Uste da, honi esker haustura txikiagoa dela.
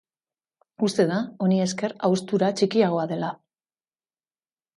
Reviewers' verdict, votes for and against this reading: accepted, 6, 1